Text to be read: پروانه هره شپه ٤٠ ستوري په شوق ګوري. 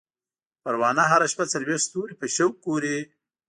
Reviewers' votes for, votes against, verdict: 0, 2, rejected